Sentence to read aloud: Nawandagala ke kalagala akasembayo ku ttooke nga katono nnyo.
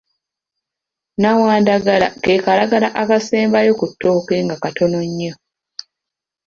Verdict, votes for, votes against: accepted, 2, 0